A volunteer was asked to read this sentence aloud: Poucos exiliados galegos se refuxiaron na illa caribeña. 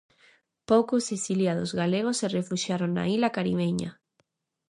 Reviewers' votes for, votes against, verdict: 0, 2, rejected